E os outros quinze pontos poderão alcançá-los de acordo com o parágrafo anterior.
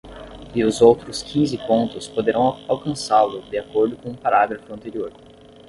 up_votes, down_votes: 5, 10